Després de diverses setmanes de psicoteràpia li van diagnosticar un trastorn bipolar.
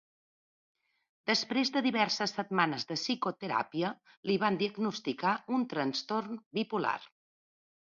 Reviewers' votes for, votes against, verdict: 1, 2, rejected